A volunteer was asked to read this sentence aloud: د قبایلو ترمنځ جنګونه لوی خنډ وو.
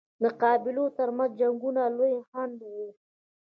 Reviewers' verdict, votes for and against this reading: rejected, 1, 2